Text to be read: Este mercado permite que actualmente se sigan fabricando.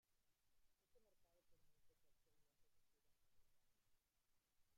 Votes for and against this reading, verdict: 0, 2, rejected